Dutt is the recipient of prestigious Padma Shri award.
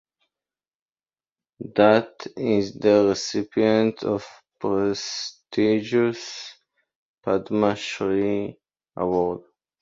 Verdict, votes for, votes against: accepted, 2, 1